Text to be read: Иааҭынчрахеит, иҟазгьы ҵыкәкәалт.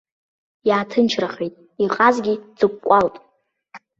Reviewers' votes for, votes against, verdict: 0, 2, rejected